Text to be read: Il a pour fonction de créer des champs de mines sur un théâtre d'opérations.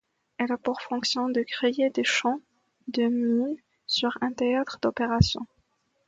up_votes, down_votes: 1, 2